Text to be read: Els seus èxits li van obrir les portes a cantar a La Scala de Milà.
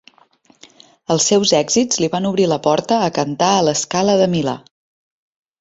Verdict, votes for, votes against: rejected, 1, 2